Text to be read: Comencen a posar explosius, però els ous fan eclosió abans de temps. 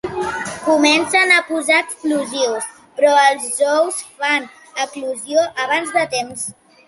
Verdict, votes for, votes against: accepted, 2, 0